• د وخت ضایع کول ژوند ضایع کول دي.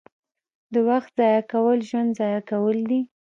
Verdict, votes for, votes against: rejected, 0, 2